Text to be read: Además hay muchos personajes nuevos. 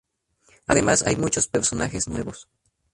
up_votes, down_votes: 2, 2